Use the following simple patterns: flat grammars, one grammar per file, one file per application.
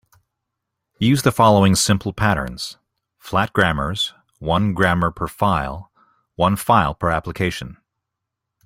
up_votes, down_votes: 2, 0